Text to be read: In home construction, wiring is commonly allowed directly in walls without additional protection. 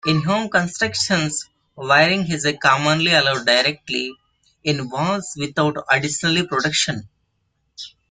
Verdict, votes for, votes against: accepted, 2, 1